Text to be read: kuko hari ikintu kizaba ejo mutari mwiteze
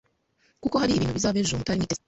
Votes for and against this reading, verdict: 2, 0, accepted